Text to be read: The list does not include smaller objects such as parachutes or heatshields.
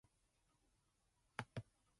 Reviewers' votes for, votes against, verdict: 0, 2, rejected